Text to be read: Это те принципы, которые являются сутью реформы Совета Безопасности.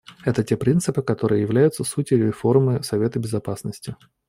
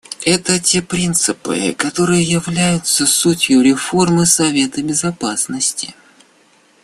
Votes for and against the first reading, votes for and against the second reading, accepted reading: 2, 0, 1, 2, first